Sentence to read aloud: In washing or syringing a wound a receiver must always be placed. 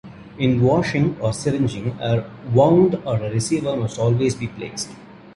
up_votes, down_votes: 1, 2